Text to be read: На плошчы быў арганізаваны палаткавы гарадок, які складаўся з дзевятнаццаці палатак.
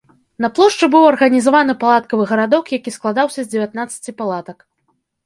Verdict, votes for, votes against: accepted, 3, 0